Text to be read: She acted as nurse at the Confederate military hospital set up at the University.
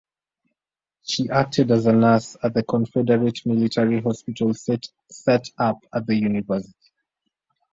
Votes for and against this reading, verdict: 0, 2, rejected